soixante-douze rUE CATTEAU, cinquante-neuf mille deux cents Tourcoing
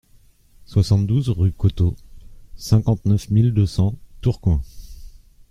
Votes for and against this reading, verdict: 0, 2, rejected